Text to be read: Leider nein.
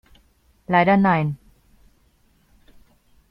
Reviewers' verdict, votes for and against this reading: accepted, 2, 0